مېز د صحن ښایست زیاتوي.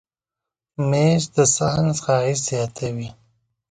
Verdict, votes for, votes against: accepted, 2, 0